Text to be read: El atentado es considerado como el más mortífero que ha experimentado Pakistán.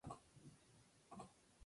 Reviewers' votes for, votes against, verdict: 0, 4, rejected